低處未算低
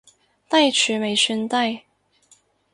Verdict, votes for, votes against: accepted, 4, 0